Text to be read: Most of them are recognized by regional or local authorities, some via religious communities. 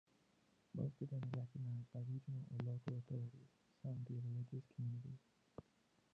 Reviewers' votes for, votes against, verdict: 0, 2, rejected